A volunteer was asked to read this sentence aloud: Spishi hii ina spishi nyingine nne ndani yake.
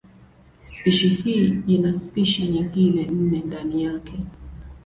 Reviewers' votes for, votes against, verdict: 10, 1, accepted